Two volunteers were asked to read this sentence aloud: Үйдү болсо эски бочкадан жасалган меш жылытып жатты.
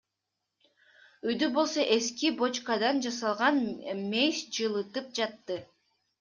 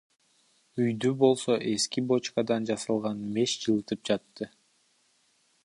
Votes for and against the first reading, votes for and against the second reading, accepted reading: 2, 1, 0, 2, first